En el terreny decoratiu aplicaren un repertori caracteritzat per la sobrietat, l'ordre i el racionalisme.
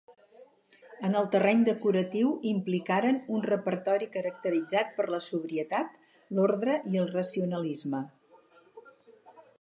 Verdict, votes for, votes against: rejected, 2, 4